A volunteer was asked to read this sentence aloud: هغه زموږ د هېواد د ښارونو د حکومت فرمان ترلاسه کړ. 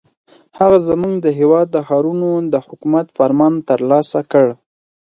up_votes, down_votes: 4, 0